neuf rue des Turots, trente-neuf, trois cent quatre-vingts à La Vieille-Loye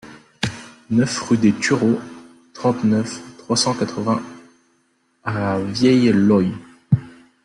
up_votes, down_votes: 0, 2